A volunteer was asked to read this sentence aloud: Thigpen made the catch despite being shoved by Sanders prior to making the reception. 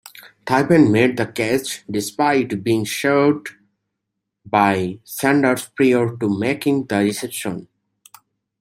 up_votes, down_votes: 2, 1